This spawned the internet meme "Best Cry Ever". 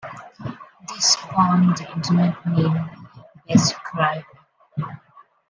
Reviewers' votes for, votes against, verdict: 0, 2, rejected